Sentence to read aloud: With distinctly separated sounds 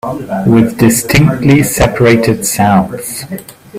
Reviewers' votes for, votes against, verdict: 2, 0, accepted